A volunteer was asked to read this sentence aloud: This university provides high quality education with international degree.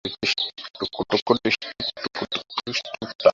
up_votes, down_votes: 0, 2